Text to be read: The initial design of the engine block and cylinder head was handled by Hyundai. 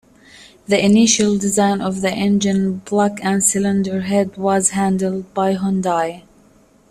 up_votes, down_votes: 1, 2